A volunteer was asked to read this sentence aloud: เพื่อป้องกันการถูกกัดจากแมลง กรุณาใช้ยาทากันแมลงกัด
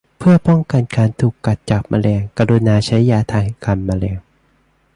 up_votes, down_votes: 0, 2